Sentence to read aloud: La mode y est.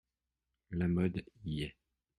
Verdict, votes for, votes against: accepted, 2, 1